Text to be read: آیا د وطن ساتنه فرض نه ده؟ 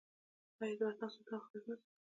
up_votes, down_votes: 1, 2